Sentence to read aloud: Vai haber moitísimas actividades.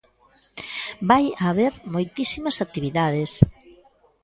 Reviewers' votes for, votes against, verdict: 0, 2, rejected